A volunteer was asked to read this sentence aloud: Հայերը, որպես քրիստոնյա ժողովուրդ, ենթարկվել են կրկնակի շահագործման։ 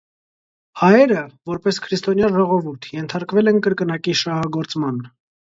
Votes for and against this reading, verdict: 2, 0, accepted